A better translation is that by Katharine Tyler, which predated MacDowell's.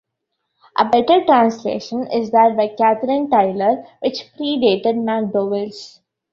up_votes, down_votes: 0, 2